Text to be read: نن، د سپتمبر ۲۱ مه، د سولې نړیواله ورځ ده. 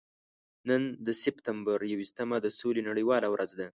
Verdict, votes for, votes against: rejected, 0, 2